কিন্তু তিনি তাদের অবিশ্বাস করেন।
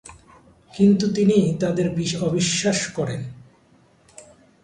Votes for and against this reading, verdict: 0, 2, rejected